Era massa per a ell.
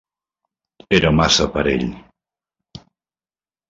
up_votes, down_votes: 0, 2